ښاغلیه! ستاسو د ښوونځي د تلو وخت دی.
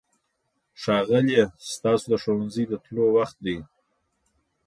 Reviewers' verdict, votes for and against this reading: accepted, 2, 0